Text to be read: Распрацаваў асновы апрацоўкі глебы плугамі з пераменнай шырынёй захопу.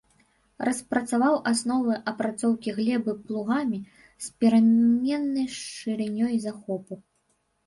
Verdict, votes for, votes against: rejected, 1, 2